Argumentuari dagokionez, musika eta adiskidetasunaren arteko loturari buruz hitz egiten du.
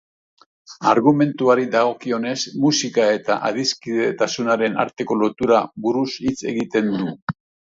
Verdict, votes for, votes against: rejected, 0, 2